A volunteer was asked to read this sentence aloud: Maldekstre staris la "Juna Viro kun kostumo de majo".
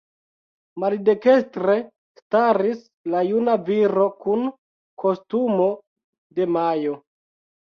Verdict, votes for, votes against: accepted, 2, 0